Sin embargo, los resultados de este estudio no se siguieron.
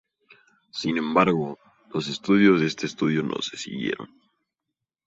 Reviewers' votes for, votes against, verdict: 0, 2, rejected